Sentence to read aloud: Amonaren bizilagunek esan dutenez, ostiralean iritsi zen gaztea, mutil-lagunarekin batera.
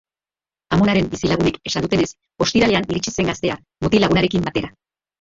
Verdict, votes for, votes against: rejected, 1, 2